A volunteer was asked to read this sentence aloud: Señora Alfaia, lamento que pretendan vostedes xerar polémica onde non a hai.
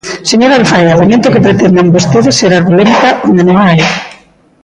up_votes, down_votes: 1, 2